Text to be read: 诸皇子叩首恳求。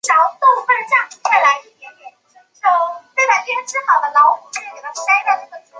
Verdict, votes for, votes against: rejected, 0, 2